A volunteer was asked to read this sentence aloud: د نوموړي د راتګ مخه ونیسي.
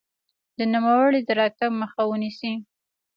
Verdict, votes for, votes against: rejected, 1, 2